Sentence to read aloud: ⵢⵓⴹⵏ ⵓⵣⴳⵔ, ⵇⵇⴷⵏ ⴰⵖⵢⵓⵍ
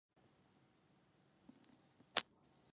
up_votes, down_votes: 0, 2